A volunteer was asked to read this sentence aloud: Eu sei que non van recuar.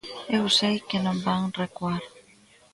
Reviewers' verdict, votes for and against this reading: rejected, 1, 2